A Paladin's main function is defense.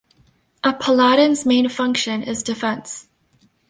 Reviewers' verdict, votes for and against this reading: accepted, 2, 1